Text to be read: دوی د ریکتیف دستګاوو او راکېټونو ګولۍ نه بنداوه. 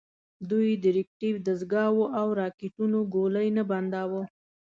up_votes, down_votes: 2, 1